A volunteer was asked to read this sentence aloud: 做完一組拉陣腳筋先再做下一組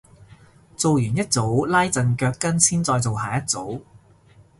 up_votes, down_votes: 2, 0